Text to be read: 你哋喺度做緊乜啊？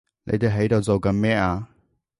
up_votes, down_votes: 0, 2